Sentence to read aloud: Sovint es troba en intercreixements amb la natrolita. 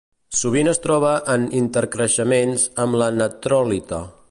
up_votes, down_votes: 1, 2